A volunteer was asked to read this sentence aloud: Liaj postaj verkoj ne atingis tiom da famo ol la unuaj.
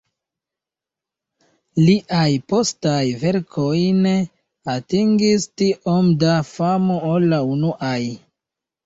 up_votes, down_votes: 0, 2